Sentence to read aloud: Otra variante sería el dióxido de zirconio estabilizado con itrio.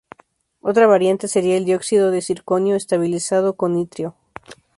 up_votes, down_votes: 2, 0